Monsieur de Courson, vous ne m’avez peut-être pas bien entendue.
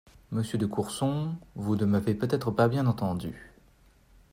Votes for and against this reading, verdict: 2, 0, accepted